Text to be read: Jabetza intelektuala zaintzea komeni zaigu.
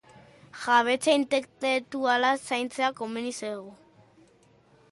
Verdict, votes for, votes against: rejected, 0, 2